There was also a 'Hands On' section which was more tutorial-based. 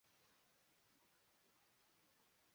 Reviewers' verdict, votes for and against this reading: rejected, 0, 2